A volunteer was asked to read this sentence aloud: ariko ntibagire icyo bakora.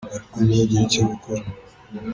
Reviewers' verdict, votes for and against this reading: rejected, 1, 2